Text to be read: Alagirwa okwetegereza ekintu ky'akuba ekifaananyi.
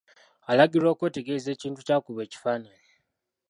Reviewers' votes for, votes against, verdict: 1, 2, rejected